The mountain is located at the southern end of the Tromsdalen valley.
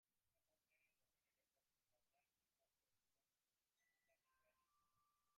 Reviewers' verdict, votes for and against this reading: rejected, 0, 2